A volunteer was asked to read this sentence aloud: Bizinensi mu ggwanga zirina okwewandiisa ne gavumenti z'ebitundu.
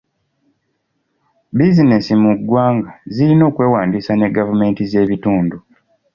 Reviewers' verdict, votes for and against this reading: accepted, 2, 0